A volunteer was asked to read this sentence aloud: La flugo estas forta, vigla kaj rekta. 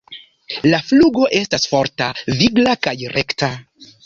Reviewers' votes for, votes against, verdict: 3, 0, accepted